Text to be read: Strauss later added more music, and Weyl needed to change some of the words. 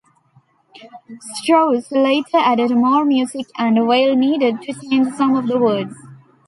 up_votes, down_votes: 1, 2